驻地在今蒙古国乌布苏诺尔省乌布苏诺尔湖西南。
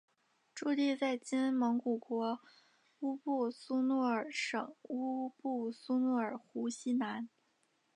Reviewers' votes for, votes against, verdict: 2, 0, accepted